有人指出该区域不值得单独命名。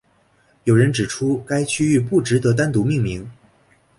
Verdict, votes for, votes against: accepted, 2, 0